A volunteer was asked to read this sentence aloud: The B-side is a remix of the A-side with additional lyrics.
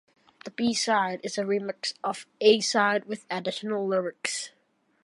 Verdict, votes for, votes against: accepted, 2, 1